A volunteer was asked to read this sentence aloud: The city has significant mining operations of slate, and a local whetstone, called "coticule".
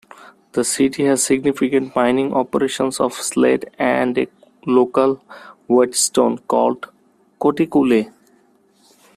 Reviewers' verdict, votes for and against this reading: accepted, 2, 1